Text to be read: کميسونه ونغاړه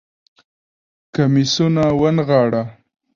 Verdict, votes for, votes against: accepted, 2, 1